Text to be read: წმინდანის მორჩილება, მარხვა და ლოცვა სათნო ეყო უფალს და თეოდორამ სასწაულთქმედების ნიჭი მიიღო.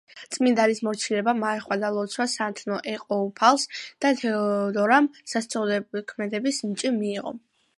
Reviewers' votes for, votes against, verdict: 2, 1, accepted